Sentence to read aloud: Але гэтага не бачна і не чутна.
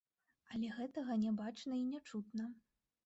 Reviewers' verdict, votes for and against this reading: rejected, 1, 2